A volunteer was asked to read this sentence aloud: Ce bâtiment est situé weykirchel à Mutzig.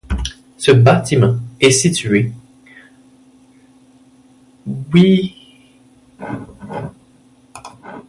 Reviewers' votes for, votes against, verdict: 0, 2, rejected